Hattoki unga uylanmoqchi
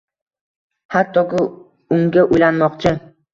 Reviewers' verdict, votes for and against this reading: rejected, 1, 2